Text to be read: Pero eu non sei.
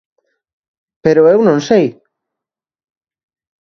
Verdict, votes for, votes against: accepted, 2, 0